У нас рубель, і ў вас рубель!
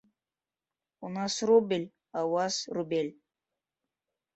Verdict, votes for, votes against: rejected, 0, 2